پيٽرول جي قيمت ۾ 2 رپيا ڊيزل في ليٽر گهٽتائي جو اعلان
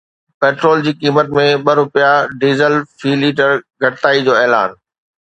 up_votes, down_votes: 0, 2